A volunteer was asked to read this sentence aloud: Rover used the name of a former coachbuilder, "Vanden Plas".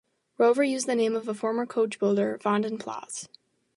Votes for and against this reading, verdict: 2, 0, accepted